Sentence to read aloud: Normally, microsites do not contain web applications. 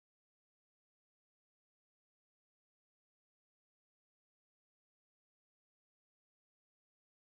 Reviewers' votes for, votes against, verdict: 0, 2, rejected